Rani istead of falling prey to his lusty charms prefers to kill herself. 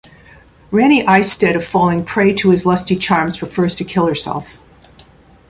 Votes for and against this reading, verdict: 2, 0, accepted